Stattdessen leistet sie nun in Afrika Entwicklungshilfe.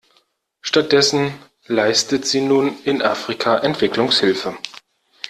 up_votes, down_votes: 2, 0